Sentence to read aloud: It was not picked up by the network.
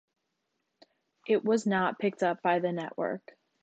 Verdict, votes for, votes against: accepted, 2, 0